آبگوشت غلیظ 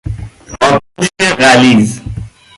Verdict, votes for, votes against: rejected, 0, 2